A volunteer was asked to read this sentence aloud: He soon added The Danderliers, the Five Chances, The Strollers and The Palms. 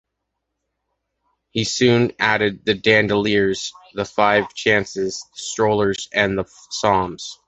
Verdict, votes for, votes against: rejected, 0, 2